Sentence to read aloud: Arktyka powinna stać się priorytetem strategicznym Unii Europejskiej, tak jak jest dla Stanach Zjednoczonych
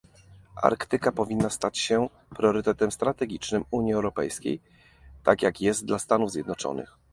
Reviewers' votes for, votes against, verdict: 1, 2, rejected